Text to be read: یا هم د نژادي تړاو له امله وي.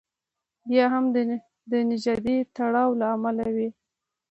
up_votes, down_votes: 2, 0